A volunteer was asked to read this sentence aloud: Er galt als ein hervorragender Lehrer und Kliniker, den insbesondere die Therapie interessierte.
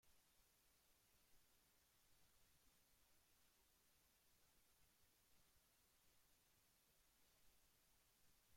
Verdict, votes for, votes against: rejected, 0, 2